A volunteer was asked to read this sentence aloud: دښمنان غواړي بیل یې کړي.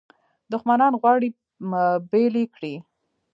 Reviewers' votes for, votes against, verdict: 3, 1, accepted